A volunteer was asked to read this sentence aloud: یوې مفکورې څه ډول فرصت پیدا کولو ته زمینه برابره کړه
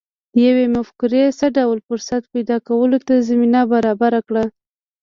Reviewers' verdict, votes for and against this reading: rejected, 1, 2